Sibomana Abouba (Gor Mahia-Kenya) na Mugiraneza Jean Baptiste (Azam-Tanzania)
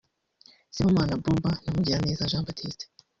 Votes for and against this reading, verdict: 1, 2, rejected